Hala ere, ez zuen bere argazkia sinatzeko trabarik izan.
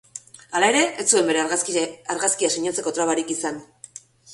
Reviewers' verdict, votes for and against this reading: rejected, 1, 2